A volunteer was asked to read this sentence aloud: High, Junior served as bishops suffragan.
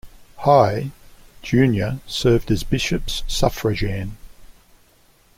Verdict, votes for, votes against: accepted, 3, 0